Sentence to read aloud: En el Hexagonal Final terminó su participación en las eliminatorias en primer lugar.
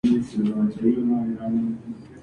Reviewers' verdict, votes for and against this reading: rejected, 2, 2